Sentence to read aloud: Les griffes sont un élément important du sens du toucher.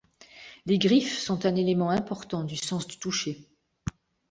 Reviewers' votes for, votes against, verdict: 3, 0, accepted